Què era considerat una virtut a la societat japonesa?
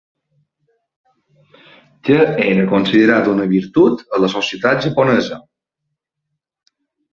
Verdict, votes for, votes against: rejected, 1, 2